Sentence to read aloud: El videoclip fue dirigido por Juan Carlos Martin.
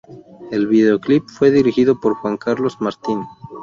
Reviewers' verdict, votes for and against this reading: accepted, 4, 0